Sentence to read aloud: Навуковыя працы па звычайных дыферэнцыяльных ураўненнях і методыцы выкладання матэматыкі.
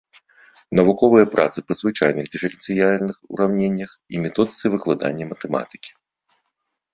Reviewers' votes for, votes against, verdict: 2, 1, accepted